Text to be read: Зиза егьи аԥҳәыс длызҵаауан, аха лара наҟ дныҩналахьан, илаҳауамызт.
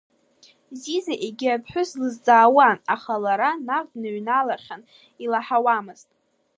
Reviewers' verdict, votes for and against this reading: accepted, 2, 0